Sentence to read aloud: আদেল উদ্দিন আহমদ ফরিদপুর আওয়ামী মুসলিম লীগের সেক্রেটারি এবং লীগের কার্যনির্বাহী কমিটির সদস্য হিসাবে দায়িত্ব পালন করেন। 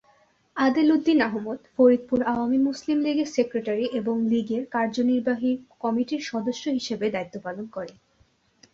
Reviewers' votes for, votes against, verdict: 2, 0, accepted